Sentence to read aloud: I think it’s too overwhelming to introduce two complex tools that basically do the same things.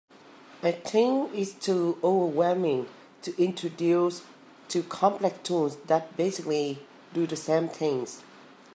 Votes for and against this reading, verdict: 3, 0, accepted